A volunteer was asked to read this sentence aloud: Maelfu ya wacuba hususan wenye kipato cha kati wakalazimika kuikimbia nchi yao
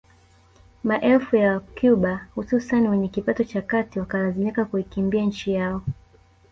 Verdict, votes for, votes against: rejected, 1, 2